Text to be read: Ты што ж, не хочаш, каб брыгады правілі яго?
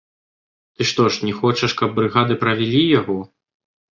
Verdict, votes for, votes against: rejected, 1, 2